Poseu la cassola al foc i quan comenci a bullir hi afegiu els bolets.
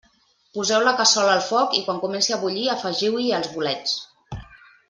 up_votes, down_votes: 1, 2